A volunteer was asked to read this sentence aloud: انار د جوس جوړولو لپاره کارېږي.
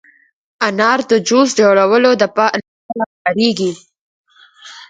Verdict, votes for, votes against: rejected, 0, 4